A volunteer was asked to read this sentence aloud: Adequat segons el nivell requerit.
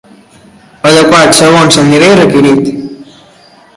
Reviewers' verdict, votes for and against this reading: accepted, 2, 1